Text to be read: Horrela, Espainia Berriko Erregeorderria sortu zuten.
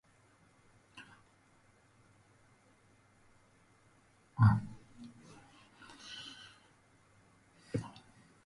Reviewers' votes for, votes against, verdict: 0, 2, rejected